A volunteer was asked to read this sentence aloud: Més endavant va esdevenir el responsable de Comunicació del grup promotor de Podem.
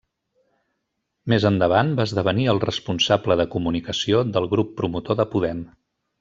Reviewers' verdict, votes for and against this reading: accepted, 3, 0